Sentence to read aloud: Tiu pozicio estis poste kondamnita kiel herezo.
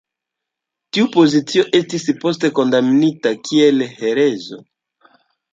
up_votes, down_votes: 2, 0